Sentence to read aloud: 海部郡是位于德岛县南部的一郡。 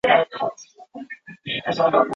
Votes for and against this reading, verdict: 0, 2, rejected